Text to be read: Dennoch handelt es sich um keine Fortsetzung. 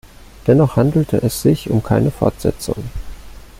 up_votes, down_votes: 0, 2